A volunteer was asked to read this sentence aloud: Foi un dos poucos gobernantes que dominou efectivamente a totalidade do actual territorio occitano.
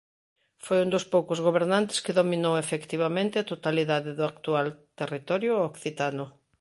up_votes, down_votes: 2, 0